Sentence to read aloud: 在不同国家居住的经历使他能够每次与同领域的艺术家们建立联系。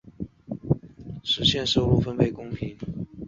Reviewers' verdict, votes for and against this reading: rejected, 0, 4